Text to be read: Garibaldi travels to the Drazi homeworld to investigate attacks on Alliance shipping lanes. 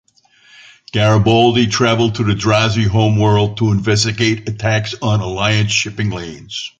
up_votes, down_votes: 2, 1